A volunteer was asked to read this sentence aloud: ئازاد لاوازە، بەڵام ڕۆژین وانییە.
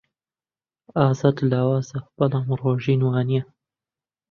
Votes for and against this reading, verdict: 2, 0, accepted